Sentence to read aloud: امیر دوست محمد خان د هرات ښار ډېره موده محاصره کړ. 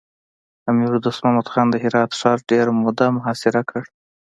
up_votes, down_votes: 2, 1